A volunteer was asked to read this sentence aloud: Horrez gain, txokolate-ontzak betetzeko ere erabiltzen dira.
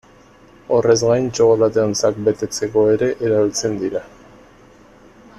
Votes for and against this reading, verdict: 2, 1, accepted